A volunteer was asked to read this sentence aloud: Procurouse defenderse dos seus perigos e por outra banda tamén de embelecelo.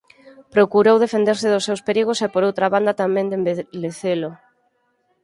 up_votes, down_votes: 2, 4